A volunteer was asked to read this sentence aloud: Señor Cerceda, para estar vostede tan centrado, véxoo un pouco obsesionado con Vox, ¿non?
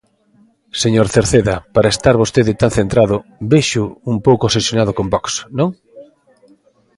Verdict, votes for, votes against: rejected, 1, 2